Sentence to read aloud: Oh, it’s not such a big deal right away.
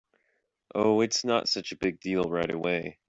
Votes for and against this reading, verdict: 2, 0, accepted